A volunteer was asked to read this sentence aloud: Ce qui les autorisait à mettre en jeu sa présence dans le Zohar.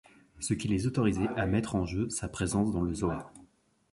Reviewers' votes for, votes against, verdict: 3, 0, accepted